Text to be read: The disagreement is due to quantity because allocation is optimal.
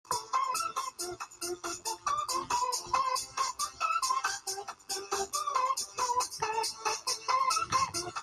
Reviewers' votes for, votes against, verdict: 0, 2, rejected